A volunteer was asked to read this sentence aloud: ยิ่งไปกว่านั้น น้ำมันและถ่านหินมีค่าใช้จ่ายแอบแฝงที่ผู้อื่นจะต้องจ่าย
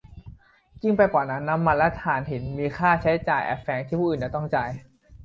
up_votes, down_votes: 1, 2